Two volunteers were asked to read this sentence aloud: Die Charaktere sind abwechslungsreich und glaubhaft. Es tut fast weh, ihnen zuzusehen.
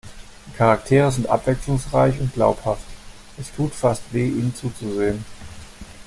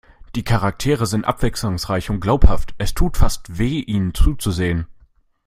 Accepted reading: second